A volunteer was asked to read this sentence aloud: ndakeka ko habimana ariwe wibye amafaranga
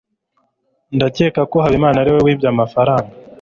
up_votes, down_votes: 3, 0